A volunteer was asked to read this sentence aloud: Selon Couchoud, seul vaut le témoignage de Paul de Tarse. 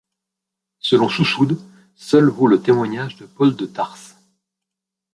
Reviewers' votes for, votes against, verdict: 1, 2, rejected